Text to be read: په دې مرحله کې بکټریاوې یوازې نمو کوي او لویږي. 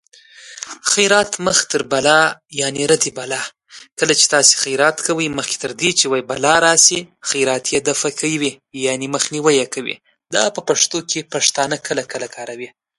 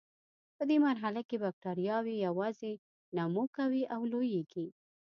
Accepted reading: second